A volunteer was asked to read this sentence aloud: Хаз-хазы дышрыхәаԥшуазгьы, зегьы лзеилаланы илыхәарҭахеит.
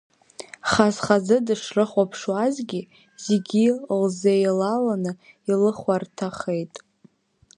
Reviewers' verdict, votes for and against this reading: accepted, 2, 0